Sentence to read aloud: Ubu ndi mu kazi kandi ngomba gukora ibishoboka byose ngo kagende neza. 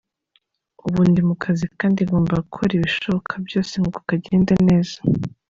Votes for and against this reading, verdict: 2, 0, accepted